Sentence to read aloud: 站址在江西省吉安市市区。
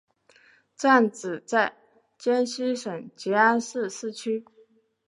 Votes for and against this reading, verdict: 2, 0, accepted